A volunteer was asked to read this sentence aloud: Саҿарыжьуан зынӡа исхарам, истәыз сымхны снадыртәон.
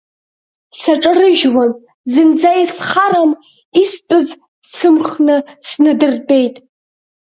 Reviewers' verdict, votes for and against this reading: rejected, 2, 3